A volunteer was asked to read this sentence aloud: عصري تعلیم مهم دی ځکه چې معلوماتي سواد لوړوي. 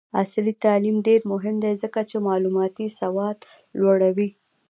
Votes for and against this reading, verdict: 2, 1, accepted